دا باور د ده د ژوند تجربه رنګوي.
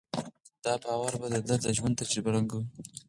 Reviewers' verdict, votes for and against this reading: accepted, 4, 0